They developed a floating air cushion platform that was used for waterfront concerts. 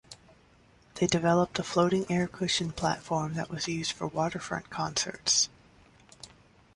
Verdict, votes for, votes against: accepted, 2, 0